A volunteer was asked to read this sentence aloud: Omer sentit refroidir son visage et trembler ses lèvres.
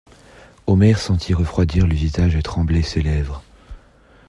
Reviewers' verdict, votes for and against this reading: rejected, 1, 2